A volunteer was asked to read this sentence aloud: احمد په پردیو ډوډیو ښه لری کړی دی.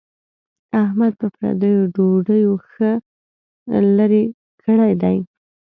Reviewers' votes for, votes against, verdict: 2, 0, accepted